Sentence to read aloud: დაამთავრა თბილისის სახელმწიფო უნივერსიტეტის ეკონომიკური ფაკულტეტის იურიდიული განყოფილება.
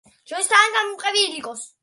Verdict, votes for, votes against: rejected, 0, 2